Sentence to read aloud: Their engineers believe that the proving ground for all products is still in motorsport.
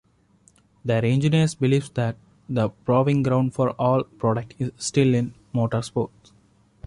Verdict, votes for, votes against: rejected, 0, 2